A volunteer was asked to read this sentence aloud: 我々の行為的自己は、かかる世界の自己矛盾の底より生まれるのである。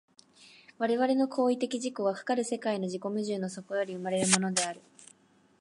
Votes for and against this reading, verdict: 1, 2, rejected